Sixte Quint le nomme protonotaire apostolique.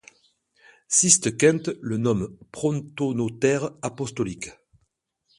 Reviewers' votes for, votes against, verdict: 1, 2, rejected